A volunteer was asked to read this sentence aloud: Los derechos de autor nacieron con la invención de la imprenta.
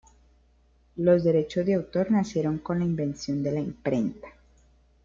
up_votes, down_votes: 1, 2